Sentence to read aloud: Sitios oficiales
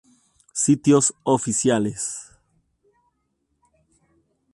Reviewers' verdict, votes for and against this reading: rejected, 2, 2